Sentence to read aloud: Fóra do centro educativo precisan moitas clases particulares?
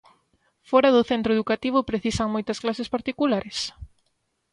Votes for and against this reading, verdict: 3, 0, accepted